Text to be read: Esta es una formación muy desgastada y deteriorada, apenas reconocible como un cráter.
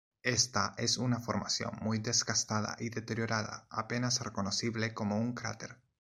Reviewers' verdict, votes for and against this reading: accepted, 2, 1